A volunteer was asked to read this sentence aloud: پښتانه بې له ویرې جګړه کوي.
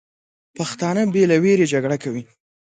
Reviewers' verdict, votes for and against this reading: accepted, 2, 0